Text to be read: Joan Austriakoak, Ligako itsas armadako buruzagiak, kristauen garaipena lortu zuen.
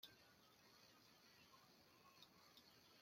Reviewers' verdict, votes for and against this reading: rejected, 0, 2